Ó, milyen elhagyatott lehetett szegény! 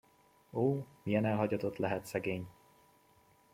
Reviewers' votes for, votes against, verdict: 0, 2, rejected